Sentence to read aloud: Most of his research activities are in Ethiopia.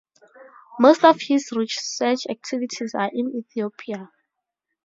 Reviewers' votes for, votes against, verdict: 2, 0, accepted